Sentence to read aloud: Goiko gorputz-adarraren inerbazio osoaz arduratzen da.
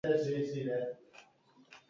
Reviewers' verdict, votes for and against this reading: rejected, 0, 4